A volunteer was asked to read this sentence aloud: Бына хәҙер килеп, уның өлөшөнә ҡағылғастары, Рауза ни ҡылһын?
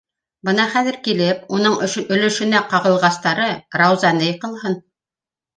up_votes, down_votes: 0, 2